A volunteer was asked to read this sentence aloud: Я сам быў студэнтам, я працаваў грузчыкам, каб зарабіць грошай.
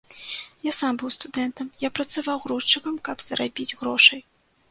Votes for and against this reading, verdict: 2, 0, accepted